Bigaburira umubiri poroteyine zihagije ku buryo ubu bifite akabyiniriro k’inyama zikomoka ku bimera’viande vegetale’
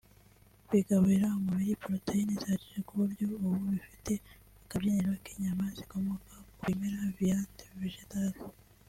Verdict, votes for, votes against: rejected, 1, 2